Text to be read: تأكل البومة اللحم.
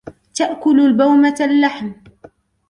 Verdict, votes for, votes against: rejected, 0, 2